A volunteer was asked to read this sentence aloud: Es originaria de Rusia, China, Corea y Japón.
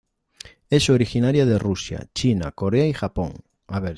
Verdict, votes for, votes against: rejected, 0, 2